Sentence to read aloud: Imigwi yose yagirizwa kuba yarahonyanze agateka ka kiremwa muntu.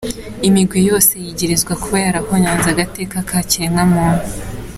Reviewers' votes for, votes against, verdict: 1, 2, rejected